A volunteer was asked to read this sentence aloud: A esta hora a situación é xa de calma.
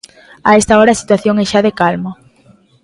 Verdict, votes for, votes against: accepted, 2, 0